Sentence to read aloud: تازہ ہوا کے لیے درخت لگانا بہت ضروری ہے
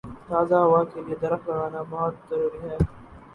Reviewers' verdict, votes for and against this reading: rejected, 0, 2